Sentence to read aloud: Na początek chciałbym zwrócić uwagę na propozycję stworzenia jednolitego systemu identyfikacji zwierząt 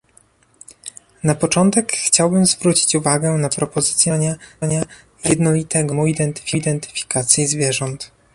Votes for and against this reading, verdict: 1, 2, rejected